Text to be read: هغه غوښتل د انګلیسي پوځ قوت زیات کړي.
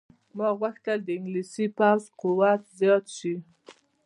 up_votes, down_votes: 1, 2